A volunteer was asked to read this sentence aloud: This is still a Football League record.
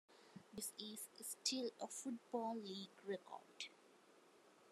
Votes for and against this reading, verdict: 1, 2, rejected